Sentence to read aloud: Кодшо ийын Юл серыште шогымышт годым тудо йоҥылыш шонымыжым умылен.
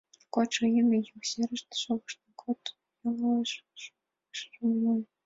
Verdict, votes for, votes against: rejected, 0, 2